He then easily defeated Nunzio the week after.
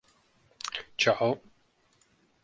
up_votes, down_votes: 0, 2